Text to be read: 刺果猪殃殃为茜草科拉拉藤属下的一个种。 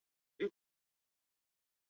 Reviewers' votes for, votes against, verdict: 0, 3, rejected